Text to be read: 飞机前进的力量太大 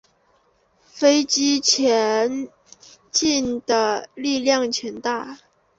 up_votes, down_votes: 0, 2